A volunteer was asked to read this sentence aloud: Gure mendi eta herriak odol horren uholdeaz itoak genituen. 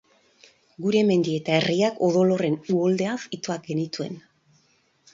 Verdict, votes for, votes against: accepted, 4, 0